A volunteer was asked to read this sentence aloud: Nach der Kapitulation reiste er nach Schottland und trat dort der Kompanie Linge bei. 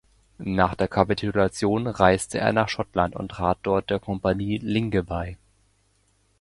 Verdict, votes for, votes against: accepted, 2, 1